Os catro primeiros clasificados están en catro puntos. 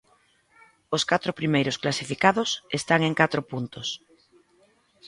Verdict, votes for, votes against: accepted, 2, 0